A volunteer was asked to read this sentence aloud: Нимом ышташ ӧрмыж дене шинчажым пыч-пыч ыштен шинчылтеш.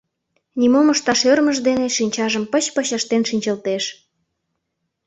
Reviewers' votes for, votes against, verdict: 2, 0, accepted